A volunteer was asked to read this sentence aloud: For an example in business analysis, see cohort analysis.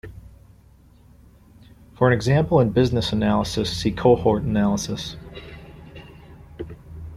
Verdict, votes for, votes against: rejected, 1, 2